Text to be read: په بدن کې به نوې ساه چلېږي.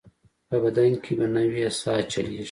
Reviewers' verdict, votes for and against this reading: accepted, 2, 0